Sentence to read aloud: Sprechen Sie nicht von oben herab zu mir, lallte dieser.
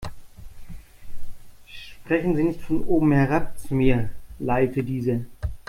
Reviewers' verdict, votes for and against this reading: rejected, 0, 2